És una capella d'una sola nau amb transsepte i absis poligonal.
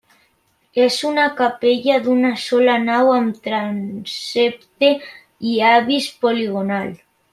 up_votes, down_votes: 0, 2